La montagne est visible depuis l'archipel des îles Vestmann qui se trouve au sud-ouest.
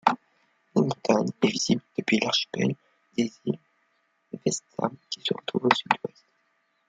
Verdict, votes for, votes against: rejected, 1, 2